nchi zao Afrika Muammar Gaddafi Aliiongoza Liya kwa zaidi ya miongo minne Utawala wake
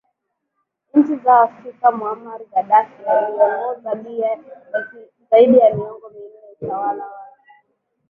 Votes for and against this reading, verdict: 2, 0, accepted